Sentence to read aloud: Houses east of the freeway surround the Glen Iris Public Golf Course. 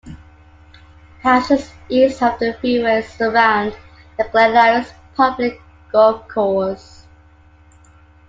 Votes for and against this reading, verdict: 2, 0, accepted